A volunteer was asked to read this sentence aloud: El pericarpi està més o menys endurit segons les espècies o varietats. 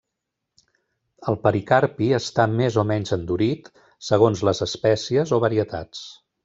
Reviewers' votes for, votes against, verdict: 3, 0, accepted